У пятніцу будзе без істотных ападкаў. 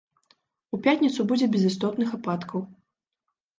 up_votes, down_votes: 2, 0